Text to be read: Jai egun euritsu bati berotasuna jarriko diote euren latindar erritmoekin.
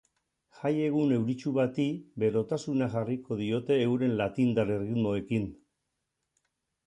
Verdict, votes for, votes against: accepted, 4, 0